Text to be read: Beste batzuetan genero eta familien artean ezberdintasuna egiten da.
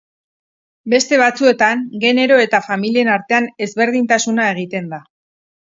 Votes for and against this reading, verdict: 6, 0, accepted